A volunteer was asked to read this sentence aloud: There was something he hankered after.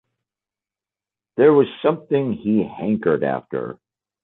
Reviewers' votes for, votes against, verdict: 2, 0, accepted